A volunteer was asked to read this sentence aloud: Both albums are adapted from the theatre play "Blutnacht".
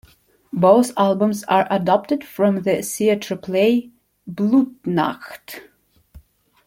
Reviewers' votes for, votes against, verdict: 0, 2, rejected